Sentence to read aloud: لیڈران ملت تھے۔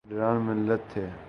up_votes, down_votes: 0, 3